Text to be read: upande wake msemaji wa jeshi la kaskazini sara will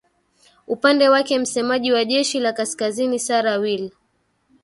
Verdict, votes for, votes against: accepted, 2, 0